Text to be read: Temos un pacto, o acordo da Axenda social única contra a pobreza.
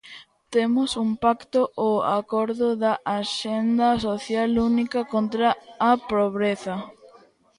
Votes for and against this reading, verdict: 1, 2, rejected